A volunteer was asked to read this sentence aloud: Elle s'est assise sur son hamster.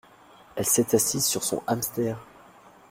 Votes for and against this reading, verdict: 2, 0, accepted